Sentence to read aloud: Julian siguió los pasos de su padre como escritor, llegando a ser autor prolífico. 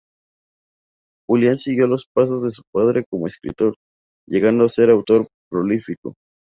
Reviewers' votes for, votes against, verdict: 2, 2, rejected